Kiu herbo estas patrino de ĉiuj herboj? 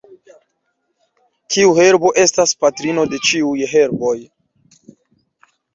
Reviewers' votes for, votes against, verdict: 0, 2, rejected